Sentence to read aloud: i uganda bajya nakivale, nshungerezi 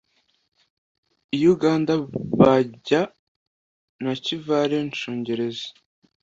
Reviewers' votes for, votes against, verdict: 2, 0, accepted